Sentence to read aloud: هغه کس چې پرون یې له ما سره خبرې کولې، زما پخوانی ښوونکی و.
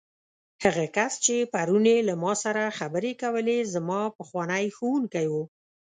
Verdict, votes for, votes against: accepted, 2, 0